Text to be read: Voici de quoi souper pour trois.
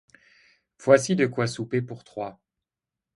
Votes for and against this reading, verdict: 2, 0, accepted